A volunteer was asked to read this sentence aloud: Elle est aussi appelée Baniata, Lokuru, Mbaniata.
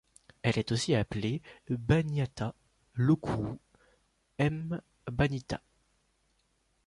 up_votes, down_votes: 1, 2